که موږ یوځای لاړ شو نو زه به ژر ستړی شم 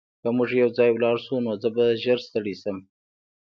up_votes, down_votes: 2, 0